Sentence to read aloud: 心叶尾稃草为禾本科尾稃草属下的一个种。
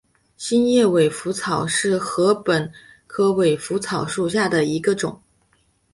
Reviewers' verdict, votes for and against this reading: rejected, 1, 2